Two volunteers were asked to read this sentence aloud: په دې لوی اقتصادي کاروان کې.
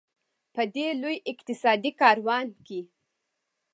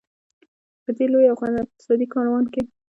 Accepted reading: first